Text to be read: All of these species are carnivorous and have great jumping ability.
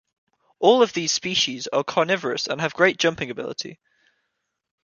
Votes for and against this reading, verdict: 2, 0, accepted